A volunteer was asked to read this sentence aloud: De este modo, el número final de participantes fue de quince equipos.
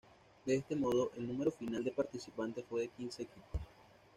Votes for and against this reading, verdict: 0, 2, rejected